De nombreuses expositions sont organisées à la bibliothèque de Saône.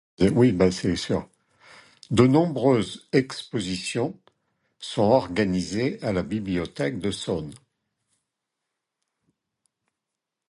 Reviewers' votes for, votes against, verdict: 0, 2, rejected